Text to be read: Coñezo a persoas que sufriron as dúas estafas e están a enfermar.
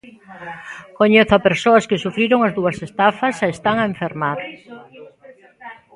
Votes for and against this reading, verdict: 1, 2, rejected